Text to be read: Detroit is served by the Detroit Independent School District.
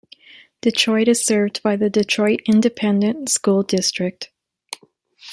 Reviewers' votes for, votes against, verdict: 2, 0, accepted